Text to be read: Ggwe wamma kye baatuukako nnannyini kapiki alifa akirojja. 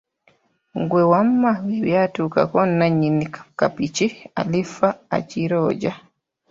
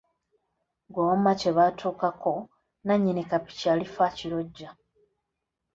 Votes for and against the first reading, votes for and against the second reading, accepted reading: 0, 3, 2, 0, second